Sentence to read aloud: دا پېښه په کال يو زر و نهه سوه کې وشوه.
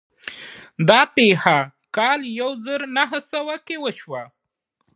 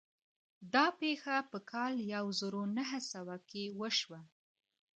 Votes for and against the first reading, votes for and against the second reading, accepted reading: 3, 2, 0, 2, first